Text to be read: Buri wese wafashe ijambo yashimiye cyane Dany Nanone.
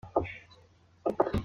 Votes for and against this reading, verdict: 0, 2, rejected